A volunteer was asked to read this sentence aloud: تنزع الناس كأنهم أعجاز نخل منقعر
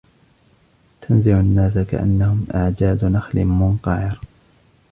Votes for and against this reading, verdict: 1, 2, rejected